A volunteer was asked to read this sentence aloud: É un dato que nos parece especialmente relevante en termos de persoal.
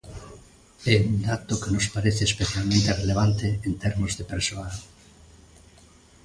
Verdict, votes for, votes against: accepted, 2, 0